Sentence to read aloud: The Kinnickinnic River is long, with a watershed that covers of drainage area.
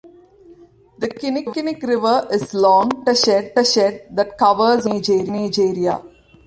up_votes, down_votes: 0, 2